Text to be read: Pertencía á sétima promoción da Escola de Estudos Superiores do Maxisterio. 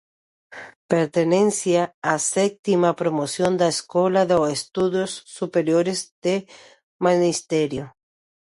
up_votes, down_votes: 0, 2